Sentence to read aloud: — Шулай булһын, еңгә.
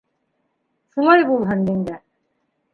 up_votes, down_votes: 3, 2